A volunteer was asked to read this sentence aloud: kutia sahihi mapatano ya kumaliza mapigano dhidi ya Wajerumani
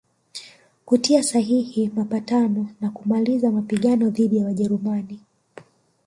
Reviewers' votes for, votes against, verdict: 1, 2, rejected